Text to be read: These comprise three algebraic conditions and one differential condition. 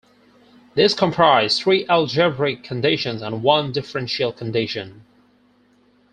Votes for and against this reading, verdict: 0, 4, rejected